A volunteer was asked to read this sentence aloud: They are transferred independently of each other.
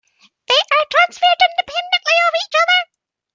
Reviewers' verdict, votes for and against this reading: rejected, 1, 2